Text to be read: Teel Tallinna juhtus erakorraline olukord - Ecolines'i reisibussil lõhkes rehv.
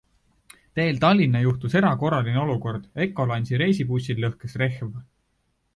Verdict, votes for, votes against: accepted, 2, 0